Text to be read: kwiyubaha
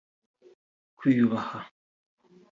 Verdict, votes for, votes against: accepted, 3, 0